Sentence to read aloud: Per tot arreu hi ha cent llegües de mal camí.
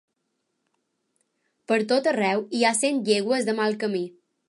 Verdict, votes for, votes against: accepted, 2, 0